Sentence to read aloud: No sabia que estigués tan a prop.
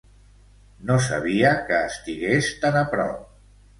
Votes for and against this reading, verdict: 2, 0, accepted